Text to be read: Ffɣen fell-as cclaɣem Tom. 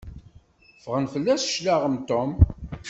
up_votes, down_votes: 2, 0